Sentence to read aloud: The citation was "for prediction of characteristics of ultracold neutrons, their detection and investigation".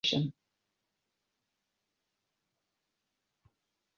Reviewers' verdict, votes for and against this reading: rejected, 0, 2